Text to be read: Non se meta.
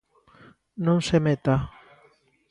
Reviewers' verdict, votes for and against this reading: accepted, 2, 0